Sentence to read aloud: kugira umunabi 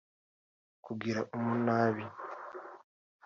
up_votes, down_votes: 2, 0